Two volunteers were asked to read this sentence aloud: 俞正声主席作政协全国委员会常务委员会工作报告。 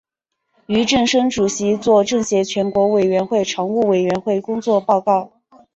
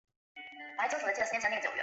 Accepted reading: first